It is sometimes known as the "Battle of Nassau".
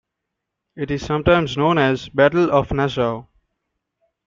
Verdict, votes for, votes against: rejected, 1, 2